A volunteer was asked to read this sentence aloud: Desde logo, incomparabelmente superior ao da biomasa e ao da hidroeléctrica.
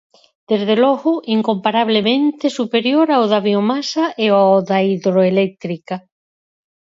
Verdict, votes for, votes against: rejected, 2, 4